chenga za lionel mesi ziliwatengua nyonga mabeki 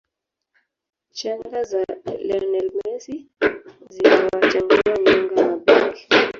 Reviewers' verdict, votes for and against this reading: accepted, 2, 0